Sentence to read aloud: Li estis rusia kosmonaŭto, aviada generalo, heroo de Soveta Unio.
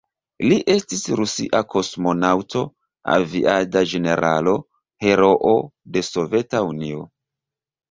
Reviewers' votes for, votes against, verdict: 1, 2, rejected